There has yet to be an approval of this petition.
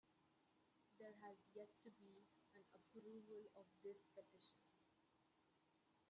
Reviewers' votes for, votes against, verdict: 1, 2, rejected